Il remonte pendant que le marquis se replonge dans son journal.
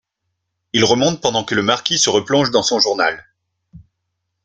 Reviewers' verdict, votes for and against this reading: accepted, 2, 0